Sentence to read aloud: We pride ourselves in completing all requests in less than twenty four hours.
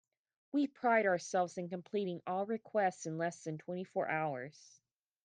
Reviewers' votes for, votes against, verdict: 2, 0, accepted